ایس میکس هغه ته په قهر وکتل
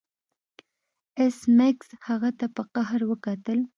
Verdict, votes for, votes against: accepted, 2, 0